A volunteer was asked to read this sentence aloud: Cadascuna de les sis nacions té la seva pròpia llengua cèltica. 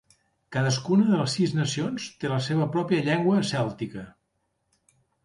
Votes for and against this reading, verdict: 3, 0, accepted